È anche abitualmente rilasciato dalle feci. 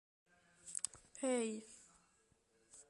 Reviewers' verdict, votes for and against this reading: rejected, 0, 2